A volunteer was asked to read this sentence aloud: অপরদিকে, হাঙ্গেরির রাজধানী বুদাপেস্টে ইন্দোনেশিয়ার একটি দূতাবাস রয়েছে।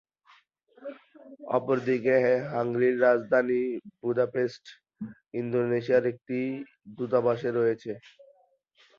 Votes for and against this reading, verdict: 3, 10, rejected